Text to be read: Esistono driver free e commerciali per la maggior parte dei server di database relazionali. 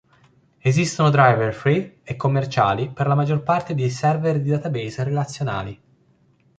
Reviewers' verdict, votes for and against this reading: accepted, 2, 0